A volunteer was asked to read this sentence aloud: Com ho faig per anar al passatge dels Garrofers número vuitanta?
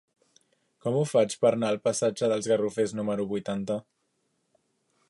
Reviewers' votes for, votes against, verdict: 1, 2, rejected